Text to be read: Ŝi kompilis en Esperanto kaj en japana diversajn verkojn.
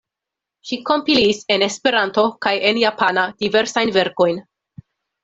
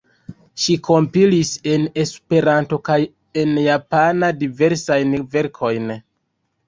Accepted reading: first